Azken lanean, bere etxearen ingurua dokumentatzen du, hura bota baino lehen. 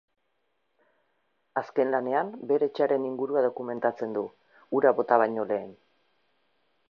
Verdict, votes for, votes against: accepted, 2, 0